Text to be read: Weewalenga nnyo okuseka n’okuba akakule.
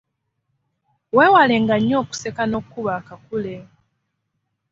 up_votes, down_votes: 0, 2